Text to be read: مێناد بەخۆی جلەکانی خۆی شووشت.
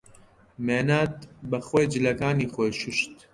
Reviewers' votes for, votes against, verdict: 2, 1, accepted